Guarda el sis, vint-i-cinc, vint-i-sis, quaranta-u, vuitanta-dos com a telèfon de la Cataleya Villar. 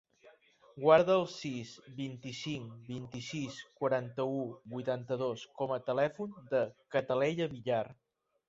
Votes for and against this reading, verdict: 0, 2, rejected